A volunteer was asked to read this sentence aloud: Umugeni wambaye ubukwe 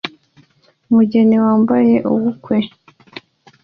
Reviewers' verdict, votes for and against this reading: accepted, 2, 0